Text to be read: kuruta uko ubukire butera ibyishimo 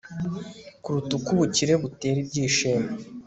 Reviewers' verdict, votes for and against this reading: accepted, 2, 1